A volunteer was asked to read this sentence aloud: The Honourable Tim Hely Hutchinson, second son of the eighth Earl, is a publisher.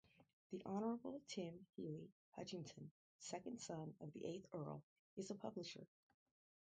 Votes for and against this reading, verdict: 0, 2, rejected